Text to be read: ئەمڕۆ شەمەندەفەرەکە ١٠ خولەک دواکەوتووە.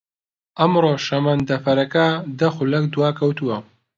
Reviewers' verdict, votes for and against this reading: rejected, 0, 2